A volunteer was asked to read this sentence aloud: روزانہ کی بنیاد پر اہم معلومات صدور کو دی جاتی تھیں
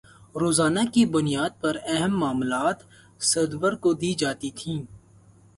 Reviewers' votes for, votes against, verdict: 18, 2, accepted